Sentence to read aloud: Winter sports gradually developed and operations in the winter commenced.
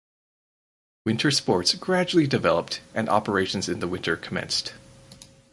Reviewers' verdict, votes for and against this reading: accepted, 4, 0